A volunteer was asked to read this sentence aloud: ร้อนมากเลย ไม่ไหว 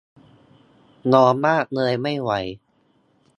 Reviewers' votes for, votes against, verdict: 0, 2, rejected